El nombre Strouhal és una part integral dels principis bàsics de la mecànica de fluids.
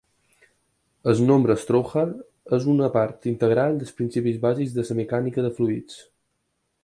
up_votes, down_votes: 2, 4